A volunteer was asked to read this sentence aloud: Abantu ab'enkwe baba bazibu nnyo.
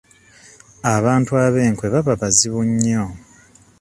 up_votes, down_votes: 2, 0